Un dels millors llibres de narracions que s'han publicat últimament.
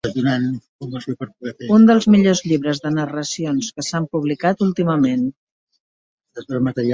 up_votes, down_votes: 0, 2